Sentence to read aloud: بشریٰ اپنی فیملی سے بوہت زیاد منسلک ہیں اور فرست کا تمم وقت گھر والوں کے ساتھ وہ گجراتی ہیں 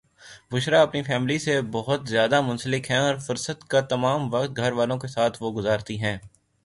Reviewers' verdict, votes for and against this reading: accepted, 3, 0